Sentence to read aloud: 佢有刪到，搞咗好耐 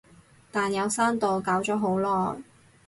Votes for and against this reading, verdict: 0, 4, rejected